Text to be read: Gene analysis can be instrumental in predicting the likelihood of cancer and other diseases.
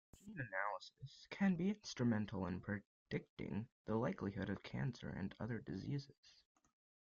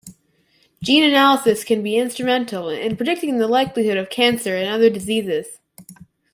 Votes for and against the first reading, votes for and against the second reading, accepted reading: 1, 2, 2, 0, second